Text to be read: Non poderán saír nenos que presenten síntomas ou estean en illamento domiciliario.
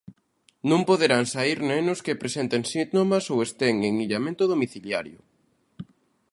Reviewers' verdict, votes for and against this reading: rejected, 1, 2